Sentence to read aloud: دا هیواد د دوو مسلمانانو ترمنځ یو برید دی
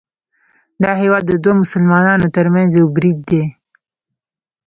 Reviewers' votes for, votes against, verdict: 1, 2, rejected